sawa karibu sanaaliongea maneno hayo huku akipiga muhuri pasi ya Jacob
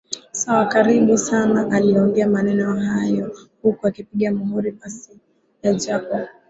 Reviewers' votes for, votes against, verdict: 2, 1, accepted